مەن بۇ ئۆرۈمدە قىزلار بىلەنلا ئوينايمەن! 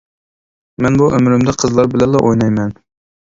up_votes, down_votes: 1, 2